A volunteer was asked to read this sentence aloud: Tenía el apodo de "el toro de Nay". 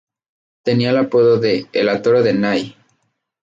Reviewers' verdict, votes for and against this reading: accepted, 2, 0